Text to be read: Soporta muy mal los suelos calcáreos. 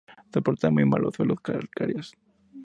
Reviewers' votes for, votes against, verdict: 2, 0, accepted